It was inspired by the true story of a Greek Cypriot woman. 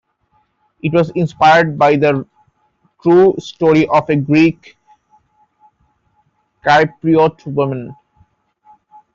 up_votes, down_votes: 1, 2